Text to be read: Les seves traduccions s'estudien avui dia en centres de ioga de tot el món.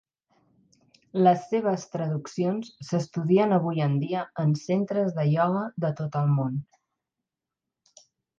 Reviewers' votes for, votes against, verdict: 1, 2, rejected